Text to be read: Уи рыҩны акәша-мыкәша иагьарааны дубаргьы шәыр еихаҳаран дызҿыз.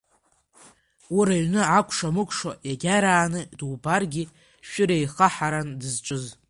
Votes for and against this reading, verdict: 7, 4, accepted